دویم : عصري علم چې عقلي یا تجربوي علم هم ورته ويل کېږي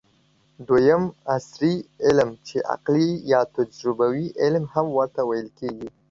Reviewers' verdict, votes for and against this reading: accepted, 2, 0